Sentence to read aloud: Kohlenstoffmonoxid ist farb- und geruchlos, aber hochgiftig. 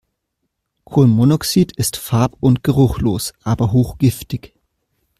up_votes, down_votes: 1, 2